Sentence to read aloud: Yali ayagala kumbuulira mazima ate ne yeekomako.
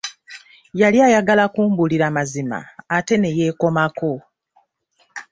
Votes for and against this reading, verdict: 2, 0, accepted